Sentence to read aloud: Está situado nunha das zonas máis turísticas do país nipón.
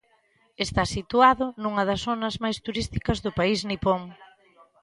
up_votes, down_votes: 1, 2